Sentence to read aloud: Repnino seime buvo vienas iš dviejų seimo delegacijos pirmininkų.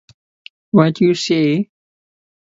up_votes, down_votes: 0, 2